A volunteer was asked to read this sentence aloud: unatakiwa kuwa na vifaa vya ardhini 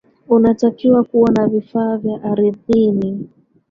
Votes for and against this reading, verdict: 1, 2, rejected